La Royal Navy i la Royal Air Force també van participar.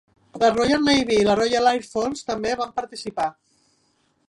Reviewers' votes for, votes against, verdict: 2, 3, rejected